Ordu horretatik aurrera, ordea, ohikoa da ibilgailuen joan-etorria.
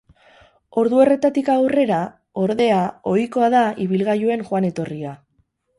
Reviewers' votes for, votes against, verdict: 4, 2, accepted